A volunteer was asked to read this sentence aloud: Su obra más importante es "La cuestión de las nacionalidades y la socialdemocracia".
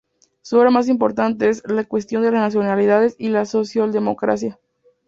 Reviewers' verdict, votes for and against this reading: rejected, 0, 2